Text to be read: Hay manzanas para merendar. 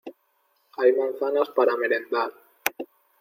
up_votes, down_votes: 2, 0